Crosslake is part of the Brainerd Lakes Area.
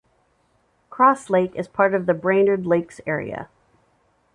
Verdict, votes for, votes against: accepted, 2, 0